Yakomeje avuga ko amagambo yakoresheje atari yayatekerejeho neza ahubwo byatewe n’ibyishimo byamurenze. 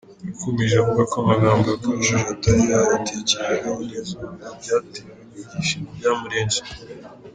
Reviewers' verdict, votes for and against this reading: rejected, 0, 2